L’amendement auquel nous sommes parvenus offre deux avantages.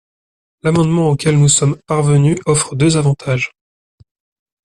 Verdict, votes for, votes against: accepted, 2, 0